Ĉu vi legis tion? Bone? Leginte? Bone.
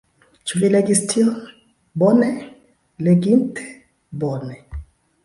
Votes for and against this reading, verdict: 1, 2, rejected